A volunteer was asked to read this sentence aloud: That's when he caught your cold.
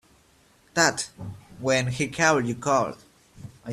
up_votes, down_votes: 0, 2